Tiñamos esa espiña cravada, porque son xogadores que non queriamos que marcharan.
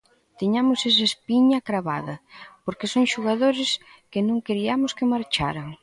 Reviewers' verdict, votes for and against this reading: accepted, 2, 0